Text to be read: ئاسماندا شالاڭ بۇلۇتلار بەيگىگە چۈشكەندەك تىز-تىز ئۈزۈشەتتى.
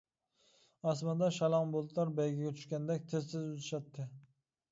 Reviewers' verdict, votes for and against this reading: accepted, 2, 0